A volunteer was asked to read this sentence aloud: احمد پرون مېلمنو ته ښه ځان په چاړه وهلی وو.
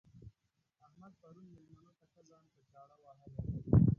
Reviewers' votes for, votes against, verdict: 0, 2, rejected